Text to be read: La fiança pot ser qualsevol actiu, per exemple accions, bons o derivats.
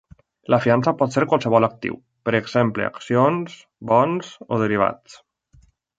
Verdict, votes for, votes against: accepted, 3, 0